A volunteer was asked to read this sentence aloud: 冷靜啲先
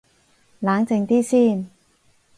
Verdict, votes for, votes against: accepted, 4, 0